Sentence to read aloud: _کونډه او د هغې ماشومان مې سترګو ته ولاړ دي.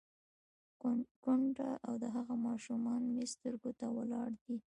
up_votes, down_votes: 1, 2